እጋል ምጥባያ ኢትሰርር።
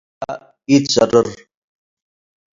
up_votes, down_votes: 0, 2